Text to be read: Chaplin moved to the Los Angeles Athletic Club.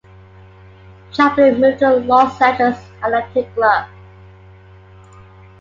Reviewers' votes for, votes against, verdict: 1, 2, rejected